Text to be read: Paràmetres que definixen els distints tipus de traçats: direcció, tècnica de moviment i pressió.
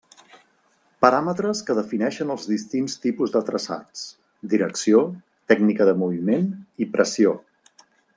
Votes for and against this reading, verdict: 2, 0, accepted